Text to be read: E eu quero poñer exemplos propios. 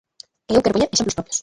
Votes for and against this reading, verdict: 0, 2, rejected